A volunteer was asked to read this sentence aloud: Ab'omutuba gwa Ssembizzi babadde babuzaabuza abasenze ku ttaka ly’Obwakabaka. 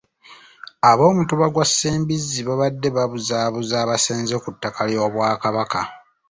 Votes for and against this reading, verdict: 2, 0, accepted